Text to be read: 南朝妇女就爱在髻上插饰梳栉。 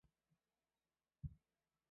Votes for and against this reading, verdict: 1, 2, rejected